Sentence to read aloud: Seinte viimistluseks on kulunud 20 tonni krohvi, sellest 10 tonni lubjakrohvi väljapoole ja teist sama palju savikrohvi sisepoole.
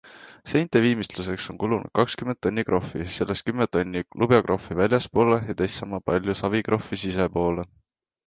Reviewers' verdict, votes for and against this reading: rejected, 0, 2